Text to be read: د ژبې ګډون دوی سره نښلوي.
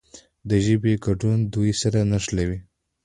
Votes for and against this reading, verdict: 2, 0, accepted